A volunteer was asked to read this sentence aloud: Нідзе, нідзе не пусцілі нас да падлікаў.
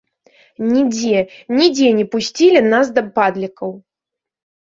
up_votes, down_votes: 0, 2